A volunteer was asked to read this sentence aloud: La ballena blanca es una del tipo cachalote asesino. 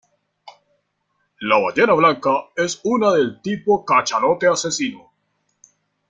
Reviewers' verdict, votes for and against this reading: rejected, 0, 2